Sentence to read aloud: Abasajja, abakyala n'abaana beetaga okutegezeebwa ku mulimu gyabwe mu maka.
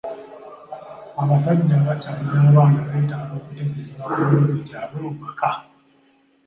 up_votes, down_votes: 0, 2